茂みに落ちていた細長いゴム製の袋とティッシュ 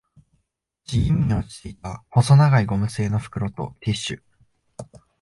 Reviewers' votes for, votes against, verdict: 1, 2, rejected